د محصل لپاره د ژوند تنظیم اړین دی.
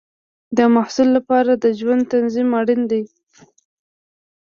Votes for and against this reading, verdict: 3, 0, accepted